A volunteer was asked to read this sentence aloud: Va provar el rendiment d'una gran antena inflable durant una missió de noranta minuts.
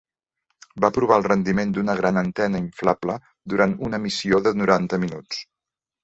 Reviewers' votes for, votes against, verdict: 2, 0, accepted